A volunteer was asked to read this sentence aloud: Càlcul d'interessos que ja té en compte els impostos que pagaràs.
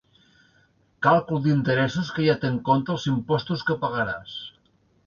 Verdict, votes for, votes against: accepted, 2, 0